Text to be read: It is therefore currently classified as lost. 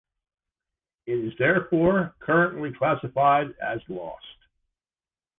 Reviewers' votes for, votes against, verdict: 2, 0, accepted